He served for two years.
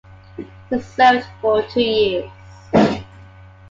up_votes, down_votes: 2, 1